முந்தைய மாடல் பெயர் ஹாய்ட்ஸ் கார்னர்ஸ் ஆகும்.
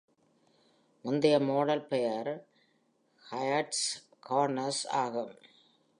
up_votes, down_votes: 2, 0